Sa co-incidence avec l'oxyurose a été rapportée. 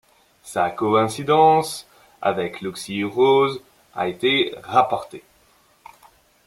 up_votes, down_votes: 2, 0